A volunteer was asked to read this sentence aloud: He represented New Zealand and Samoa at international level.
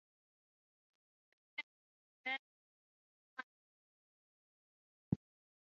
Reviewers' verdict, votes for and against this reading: rejected, 0, 3